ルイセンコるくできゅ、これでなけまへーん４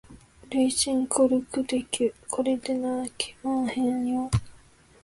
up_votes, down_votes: 0, 2